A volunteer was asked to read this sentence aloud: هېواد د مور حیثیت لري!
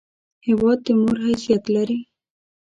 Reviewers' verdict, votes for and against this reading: accepted, 2, 0